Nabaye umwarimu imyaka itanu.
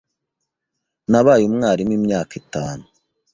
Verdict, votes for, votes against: accepted, 2, 0